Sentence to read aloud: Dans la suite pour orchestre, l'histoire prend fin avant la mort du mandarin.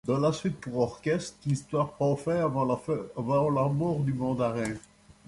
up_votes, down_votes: 1, 3